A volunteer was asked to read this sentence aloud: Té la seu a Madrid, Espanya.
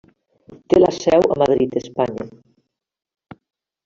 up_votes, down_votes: 3, 0